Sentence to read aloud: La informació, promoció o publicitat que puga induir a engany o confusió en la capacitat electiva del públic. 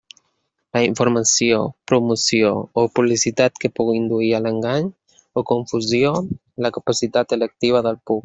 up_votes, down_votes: 1, 2